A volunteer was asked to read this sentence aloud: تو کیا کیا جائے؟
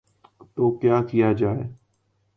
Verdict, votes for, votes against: rejected, 1, 2